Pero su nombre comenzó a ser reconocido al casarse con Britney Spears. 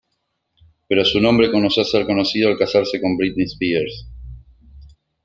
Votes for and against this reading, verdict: 1, 2, rejected